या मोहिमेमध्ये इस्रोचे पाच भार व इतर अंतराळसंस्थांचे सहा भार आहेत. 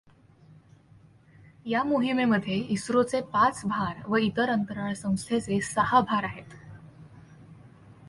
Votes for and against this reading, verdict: 2, 0, accepted